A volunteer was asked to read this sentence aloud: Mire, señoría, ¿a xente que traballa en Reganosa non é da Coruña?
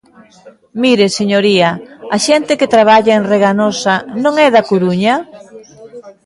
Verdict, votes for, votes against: accepted, 2, 1